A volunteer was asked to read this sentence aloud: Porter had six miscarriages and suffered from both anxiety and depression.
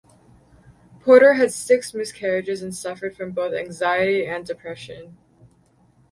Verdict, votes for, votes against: rejected, 0, 2